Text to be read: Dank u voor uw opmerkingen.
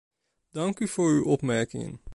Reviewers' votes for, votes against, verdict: 2, 0, accepted